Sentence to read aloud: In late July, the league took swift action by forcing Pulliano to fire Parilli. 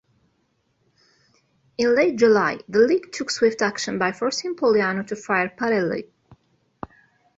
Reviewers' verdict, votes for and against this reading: accepted, 2, 0